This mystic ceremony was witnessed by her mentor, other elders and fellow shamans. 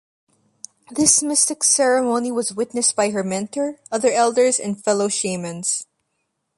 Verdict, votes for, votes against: accepted, 2, 0